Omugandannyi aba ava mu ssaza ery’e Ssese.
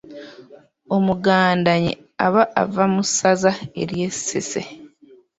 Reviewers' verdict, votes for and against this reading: rejected, 1, 2